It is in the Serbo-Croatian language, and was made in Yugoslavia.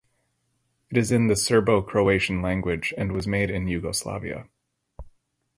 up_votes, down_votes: 2, 2